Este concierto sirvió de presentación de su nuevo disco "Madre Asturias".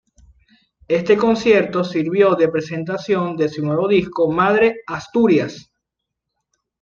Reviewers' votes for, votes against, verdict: 2, 0, accepted